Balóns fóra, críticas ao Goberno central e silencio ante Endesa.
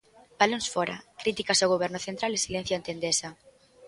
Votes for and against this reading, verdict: 2, 0, accepted